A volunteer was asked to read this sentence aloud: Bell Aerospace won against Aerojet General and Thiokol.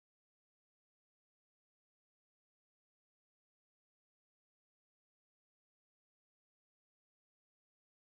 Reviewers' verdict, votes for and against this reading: rejected, 0, 2